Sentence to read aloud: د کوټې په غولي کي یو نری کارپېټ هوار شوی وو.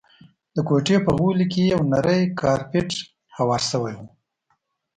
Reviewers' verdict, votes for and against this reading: accepted, 2, 0